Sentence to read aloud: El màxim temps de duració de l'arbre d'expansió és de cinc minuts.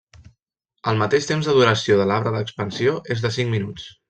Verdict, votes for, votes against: rejected, 0, 2